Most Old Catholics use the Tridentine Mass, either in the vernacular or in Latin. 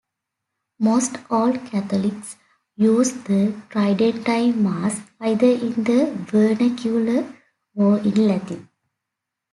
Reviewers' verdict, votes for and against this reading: accepted, 2, 0